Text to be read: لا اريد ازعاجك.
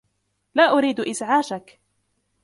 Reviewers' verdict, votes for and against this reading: rejected, 1, 2